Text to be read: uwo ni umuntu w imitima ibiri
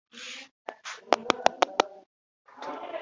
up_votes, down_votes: 0, 2